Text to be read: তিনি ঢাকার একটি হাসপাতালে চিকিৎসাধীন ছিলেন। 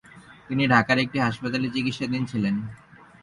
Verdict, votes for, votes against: rejected, 2, 2